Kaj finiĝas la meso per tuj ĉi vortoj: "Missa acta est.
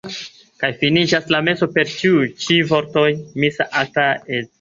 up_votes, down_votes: 2, 1